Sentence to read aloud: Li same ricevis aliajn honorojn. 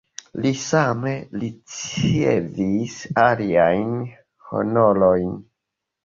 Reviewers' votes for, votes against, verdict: 0, 2, rejected